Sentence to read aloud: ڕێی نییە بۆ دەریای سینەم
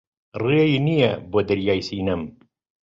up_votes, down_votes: 2, 0